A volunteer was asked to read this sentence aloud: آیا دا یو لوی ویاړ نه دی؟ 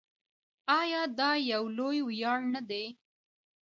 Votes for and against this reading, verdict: 2, 0, accepted